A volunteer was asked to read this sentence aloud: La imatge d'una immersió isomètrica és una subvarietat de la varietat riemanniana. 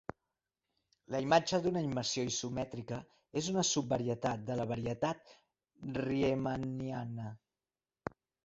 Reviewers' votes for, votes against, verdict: 2, 0, accepted